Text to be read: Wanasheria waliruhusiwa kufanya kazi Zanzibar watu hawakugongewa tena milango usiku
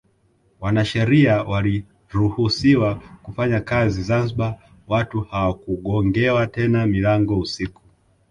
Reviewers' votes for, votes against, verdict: 0, 2, rejected